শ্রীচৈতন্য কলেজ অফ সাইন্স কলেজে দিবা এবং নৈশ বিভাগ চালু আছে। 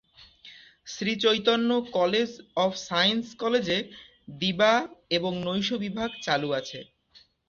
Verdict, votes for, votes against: accepted, 4, 0